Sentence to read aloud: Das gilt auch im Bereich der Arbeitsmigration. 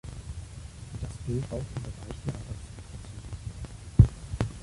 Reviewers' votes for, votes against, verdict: 0, 3, rejected